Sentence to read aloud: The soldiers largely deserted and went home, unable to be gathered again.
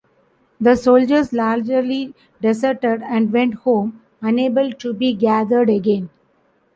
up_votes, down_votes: 1, 2